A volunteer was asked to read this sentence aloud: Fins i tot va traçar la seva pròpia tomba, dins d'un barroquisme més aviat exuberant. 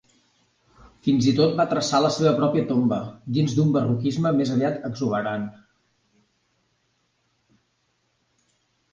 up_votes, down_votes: 3, 0